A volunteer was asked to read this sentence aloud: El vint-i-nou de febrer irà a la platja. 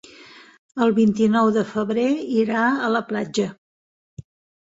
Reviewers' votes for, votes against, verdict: 5, 0, accepted